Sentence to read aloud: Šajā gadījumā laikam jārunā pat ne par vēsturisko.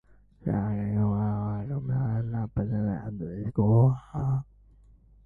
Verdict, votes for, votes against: rejected, 0, 2